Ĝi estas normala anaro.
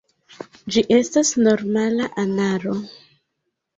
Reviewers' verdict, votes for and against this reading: accepted, 2, 1